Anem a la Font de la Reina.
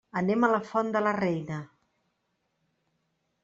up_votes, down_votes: 3, 0